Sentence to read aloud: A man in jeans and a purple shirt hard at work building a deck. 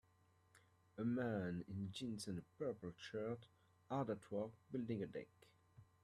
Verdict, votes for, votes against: accepted, 2, 1